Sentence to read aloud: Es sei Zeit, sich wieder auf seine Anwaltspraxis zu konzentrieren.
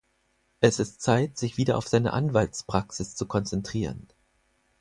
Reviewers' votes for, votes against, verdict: 2, 4, rejected